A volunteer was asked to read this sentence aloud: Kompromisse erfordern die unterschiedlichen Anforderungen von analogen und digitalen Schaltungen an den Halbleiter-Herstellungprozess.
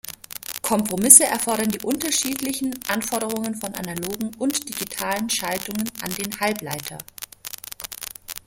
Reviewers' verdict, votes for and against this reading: rejected, 0, 2